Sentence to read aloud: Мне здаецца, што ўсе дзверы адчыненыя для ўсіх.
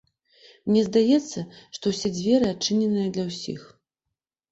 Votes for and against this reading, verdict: 2, 0, accepted